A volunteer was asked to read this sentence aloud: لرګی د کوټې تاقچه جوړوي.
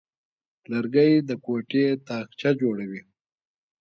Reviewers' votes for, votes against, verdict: 2, 0, accepted